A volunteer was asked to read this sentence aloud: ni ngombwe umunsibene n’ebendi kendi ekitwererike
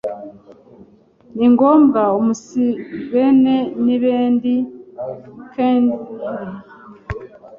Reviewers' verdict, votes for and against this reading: rejected, 0, 2